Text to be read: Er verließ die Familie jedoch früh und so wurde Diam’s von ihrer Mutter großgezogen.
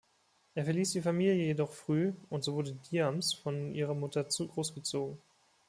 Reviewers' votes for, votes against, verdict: 1, 2, rejected